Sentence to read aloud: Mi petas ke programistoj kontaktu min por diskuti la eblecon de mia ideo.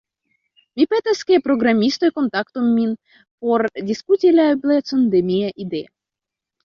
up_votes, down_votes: 2, 0